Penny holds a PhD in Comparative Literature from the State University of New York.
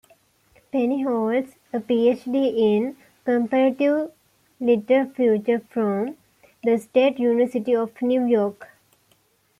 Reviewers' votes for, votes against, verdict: 0, 2, rejected